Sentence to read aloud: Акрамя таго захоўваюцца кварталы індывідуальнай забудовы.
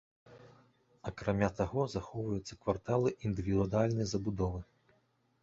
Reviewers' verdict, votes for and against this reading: rejected, 1, 2